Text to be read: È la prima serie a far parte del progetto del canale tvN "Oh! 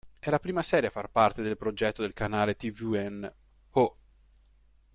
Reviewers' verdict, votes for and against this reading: accepted, 2, 0